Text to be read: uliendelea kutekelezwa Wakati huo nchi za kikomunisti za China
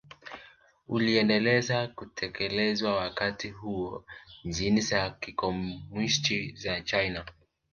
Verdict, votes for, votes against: rejected, 1, 2